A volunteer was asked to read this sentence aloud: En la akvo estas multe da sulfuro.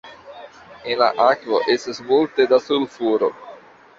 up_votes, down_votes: 2, 0